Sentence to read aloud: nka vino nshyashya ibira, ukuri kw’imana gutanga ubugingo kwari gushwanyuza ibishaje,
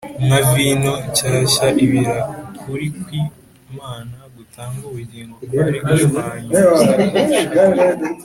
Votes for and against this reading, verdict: 2, 0, accepted